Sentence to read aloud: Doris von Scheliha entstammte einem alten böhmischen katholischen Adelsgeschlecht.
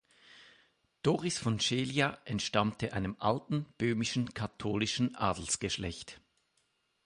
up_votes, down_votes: 6, 0